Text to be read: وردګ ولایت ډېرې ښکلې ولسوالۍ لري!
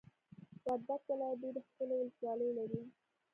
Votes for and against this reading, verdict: 1, 2, rejected